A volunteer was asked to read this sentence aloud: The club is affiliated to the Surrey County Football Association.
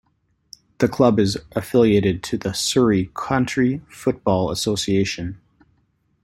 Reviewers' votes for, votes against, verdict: 0, 2, rejected